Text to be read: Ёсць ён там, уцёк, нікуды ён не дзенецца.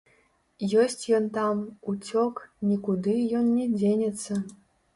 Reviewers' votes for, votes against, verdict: 1, 2, rejected